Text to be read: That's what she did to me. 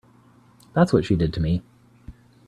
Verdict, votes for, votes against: accepted, 2, 0